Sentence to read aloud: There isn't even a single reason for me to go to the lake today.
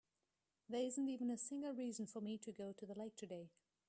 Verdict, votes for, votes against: rejected, 1, 2